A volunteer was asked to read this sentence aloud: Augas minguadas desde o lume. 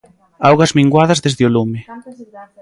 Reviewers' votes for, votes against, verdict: 2, 0, accepted